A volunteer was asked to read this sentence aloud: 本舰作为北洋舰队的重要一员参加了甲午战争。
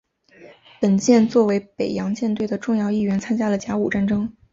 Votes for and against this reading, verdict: 2, 2, rejected